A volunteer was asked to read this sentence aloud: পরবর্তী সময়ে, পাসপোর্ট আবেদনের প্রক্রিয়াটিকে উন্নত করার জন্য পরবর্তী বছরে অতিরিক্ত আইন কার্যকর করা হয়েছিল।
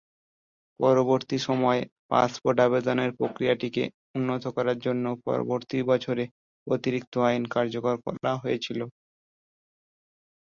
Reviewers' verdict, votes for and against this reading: accepted, 2, 0